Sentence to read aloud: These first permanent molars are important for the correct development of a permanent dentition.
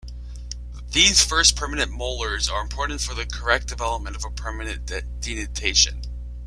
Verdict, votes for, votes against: accepted, 2, 1